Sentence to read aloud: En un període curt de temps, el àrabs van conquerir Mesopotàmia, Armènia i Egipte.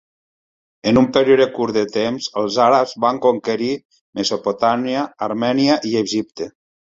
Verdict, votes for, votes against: accepted, 2, 1